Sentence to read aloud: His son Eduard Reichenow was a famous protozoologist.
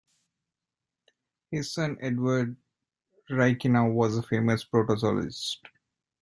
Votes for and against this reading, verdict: 1, 2, rejected